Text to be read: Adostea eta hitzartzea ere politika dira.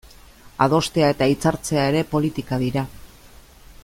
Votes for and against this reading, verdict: 2, 0, accepted